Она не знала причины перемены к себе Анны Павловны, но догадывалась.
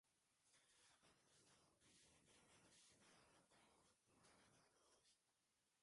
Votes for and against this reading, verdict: 0, 2, rejected